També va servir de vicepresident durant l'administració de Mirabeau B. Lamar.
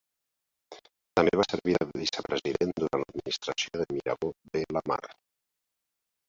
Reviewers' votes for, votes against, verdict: 0, 3, rejected